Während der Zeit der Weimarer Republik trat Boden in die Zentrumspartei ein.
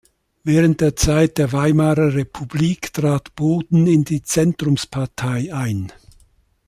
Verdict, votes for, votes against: accepted, 2, 0